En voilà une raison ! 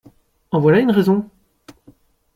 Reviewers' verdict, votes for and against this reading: accepted, 2, 0